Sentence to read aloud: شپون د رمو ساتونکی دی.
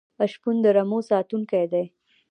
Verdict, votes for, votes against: accepted, 2, 0